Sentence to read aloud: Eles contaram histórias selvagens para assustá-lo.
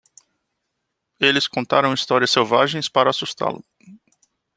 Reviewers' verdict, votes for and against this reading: accepted, 2, 0